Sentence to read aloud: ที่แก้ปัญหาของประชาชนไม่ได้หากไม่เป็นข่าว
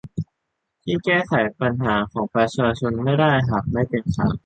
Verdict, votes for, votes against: rejected, 0, 2